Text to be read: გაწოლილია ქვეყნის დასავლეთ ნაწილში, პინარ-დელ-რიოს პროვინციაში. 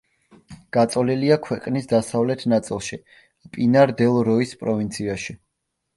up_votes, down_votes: 0, 2